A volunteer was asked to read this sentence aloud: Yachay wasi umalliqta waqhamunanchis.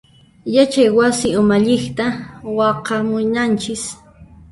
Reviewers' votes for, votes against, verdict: 0, 2, rejected